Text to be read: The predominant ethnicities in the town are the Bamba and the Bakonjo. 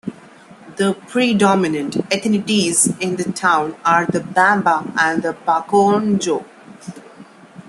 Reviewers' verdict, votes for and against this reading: accepted, 2, 1